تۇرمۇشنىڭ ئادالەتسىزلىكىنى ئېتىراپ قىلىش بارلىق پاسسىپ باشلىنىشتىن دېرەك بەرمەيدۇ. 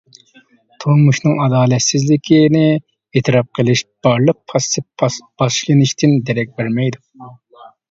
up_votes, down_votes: 0, 2